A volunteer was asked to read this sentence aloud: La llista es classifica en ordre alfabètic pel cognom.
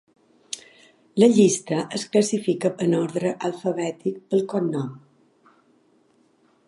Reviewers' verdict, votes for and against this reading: accepted, 3, 0